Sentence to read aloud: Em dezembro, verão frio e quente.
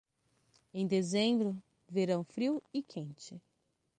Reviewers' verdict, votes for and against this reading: accepted, 6, 0